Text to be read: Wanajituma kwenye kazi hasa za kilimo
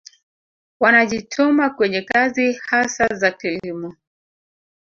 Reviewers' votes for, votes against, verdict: 1, 2, rejected